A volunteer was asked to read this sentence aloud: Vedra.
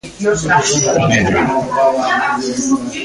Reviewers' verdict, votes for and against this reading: rejected, 0, 2